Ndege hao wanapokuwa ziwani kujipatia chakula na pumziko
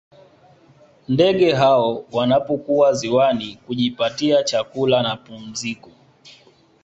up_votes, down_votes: 2, 0